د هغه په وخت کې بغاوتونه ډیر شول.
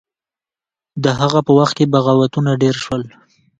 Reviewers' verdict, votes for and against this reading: accepted, 2, 1